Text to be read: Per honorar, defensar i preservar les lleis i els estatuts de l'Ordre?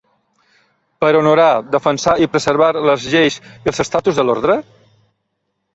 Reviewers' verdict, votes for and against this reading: rejected, 0, 2